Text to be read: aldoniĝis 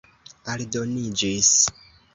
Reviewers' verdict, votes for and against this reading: accepted, 2, 0